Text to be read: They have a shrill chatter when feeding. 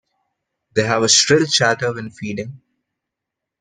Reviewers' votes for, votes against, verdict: 2, 0, accepted